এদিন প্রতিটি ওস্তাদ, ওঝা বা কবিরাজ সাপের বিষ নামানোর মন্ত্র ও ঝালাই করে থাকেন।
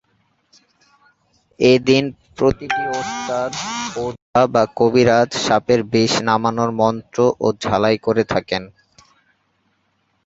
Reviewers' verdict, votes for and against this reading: rejected, 2, 3